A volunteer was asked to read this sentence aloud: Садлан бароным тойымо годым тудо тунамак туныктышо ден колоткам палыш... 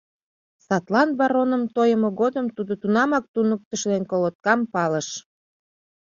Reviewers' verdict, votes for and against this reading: accepted, 2, 0